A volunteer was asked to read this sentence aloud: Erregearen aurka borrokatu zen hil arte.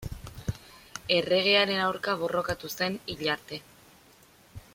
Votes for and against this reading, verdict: 3, 0, accepted